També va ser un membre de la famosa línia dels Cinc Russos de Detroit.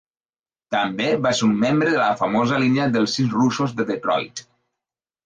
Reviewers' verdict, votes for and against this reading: rejected, 3, 4